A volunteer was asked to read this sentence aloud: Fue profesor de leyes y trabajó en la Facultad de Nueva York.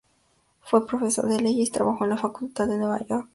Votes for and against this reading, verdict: 2, 0, accepted